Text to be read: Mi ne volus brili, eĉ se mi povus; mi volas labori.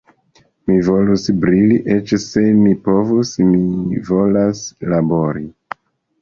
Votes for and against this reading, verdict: 0, 2, rejected